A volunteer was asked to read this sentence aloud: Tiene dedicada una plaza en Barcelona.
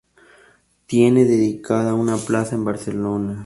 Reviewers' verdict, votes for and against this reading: accepted, 2, 0